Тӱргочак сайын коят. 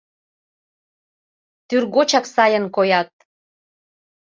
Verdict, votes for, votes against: accepted, 2, 0